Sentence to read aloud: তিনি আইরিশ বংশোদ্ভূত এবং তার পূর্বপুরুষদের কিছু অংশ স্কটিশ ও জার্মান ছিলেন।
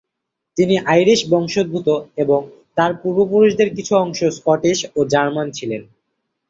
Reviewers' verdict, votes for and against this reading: accepted, 2, 0